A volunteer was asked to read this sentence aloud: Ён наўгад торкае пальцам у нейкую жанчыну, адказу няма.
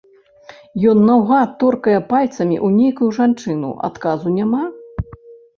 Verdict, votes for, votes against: rejected, 2, 3